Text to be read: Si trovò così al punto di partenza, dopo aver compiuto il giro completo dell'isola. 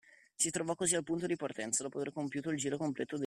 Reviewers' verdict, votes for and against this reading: rejected, 0, 2